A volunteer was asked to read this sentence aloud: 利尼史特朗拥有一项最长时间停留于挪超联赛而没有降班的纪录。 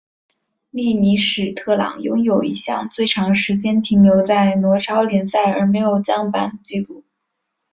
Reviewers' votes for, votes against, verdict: 2, 0, accepted